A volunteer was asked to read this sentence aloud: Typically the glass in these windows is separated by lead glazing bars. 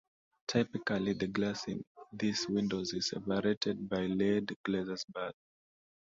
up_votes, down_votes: 0, 2